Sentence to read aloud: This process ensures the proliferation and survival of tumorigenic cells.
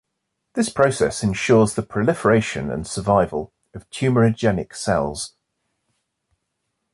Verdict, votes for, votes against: rejected, 0, 2